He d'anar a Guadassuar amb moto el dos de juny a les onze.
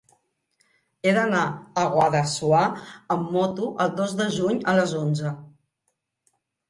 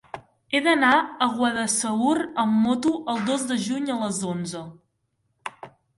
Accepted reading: first